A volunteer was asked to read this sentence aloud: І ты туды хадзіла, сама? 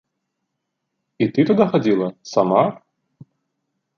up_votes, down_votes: 1, 2